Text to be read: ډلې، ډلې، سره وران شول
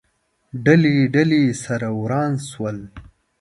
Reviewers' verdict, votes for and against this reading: accepted, 2, 0